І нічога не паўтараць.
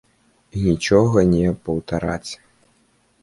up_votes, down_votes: 1, 3